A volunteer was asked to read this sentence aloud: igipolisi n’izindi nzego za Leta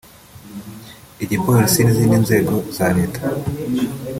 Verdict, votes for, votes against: accepted, 2, 1